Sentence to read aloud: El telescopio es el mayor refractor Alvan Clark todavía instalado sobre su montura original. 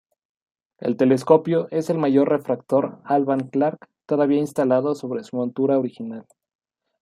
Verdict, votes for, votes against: accepted, 2, 0